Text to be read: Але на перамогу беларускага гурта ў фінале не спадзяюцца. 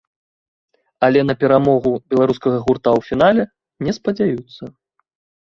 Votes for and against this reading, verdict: 2, 0, accepted